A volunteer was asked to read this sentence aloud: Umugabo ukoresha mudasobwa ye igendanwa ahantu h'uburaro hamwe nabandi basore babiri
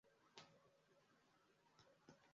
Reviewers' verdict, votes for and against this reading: rejected, 0, 2